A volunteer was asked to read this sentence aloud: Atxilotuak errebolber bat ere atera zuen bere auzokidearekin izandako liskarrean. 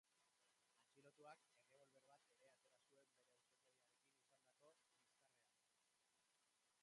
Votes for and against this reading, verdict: 0, 3, rejected